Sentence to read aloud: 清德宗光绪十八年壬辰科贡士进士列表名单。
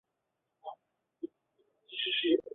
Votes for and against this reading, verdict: 1, 2, rejected